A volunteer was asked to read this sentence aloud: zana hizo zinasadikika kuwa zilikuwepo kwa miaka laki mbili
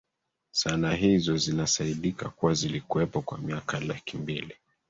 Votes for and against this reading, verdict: 1, 2, rejected